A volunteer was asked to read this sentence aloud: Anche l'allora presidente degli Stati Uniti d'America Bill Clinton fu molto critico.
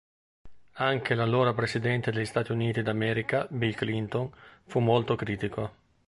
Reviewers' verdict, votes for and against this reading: accepted, 2, 0